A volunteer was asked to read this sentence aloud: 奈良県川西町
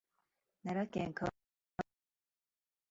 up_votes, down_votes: 0, 2